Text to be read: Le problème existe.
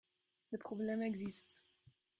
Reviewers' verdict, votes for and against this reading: rejected, 1, 2